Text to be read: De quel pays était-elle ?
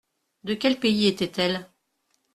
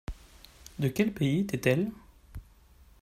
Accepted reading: first